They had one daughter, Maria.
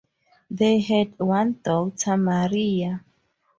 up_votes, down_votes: 4, 0